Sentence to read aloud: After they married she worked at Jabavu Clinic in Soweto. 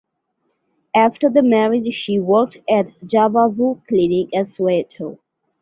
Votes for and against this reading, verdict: 0, 2, rejected